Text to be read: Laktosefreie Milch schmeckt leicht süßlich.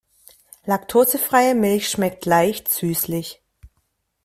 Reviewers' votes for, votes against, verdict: 2, 0, accepted